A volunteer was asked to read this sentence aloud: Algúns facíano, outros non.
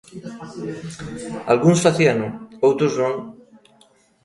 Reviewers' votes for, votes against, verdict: 2, 0, accepted